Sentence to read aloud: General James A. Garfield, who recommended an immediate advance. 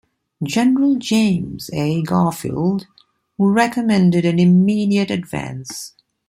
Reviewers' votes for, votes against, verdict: 2, 0, accepted